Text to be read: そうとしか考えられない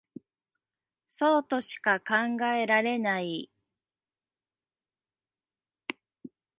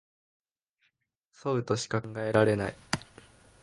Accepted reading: second